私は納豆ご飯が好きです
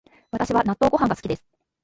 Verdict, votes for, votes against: accepted, 2, 1